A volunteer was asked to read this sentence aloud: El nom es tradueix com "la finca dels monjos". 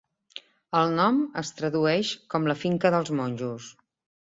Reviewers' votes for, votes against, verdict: 3, 0, accepted